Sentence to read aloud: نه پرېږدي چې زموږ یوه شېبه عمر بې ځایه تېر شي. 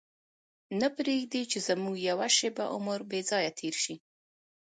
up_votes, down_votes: 2, 1